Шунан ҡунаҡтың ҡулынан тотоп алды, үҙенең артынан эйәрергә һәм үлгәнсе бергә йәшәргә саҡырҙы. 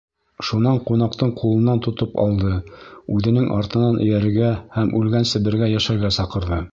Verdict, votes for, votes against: accepted, 2, 0